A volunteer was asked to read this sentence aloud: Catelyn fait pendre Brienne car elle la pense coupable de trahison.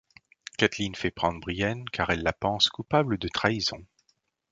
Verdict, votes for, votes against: rejected, 1, 2